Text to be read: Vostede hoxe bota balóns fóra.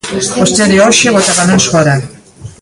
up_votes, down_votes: 1, 2